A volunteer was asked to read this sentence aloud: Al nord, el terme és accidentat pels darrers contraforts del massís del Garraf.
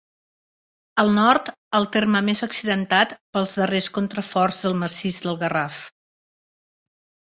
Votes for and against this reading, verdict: 2, 3, rejected